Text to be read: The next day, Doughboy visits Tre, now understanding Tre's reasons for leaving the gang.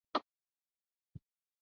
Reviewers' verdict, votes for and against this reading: rejected, 0, 2